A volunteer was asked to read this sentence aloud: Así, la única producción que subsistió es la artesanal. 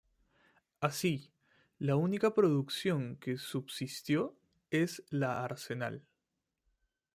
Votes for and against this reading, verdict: 0, 2, rejected